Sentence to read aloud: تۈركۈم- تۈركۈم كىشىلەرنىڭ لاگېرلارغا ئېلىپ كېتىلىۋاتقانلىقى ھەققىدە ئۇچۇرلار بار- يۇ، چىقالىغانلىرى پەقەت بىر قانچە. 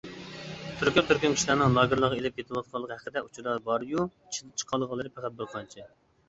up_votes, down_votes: 0, 2